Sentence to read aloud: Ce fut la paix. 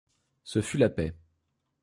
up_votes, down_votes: 2, 0